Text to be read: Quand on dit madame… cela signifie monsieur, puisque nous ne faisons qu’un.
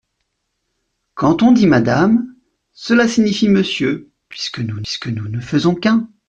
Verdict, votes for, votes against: rejected, 0, 2